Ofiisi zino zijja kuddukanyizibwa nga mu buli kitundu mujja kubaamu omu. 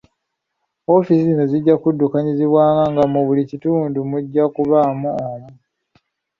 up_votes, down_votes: 2, 0